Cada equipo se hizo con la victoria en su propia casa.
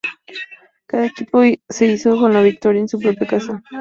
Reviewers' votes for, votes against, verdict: 2, 0, accepted